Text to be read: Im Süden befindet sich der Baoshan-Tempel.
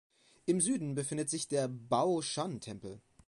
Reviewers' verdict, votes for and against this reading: accepted, 2, 0